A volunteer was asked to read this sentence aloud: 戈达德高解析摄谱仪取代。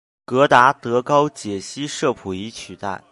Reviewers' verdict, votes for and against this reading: accepted, 2, 0